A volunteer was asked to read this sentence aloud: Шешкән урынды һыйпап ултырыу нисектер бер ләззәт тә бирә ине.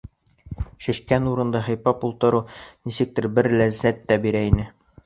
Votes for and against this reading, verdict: 2, 0, accepted